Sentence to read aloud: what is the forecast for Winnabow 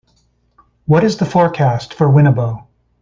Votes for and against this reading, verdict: 3, 0, accepted